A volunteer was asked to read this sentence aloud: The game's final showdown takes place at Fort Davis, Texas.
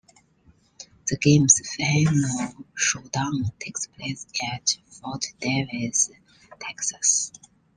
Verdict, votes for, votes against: accepted, 2, 1